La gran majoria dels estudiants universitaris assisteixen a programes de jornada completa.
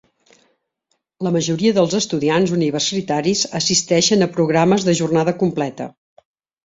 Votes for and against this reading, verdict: 1, 2, rejected